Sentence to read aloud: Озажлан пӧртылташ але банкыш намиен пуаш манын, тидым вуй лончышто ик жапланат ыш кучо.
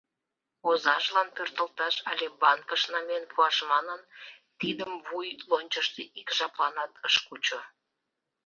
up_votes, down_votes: 2, 0